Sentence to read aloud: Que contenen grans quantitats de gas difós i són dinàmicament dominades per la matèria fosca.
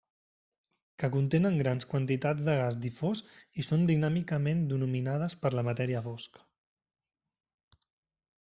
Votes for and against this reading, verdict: 1, 2, rejected